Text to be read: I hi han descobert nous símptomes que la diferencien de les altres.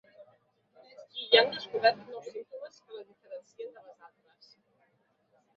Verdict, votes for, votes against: rejected, 0, 2